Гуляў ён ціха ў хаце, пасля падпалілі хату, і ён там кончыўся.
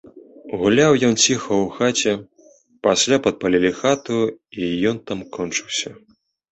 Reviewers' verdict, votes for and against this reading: accepted, 2, 0